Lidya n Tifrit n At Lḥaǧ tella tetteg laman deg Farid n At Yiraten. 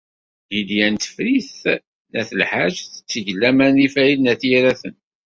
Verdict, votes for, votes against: rejected, 1, 2